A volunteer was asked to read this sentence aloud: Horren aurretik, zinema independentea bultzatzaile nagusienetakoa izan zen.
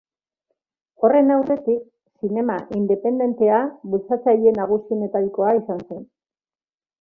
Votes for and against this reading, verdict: 0, 3, rejected